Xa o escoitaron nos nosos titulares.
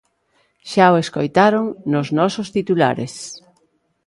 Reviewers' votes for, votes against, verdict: 2, 0, accepted